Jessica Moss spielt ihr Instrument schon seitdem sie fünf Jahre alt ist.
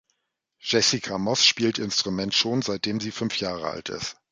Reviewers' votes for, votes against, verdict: 0, 2, rejected